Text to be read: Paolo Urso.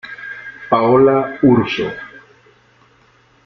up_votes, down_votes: 0, 2